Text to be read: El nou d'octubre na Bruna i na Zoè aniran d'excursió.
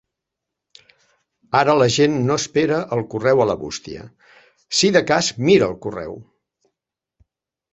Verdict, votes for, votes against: rejected, 0, 2